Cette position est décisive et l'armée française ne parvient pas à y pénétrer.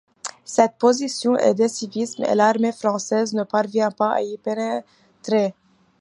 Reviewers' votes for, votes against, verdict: 2, 0, accepted